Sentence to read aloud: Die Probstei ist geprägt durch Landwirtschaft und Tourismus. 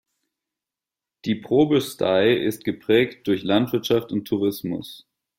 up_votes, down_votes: 0, 2